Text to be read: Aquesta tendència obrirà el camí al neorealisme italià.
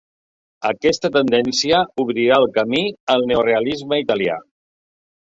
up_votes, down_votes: 2, 0